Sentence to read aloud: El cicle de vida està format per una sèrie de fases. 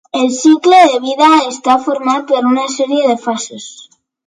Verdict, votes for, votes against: accepted, 3, 0